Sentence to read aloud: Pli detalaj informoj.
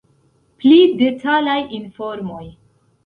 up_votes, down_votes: 2, 0